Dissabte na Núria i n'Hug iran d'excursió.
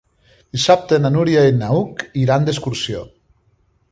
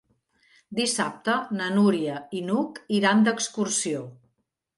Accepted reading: second